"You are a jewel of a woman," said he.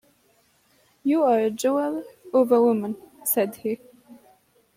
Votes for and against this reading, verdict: 2, 0, accepted